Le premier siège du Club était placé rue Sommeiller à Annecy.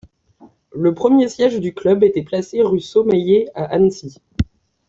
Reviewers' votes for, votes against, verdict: 2, 0, accepted